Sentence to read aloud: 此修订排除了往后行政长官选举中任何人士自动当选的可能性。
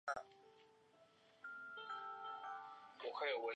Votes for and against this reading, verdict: 2, 3, rejected